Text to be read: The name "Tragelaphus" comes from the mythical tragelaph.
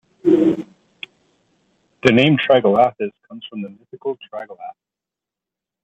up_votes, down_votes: 0, 2